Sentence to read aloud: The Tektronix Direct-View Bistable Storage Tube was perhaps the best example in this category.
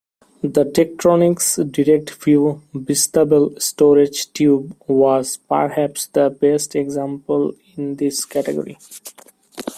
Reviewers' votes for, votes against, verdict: 2, 0, accepted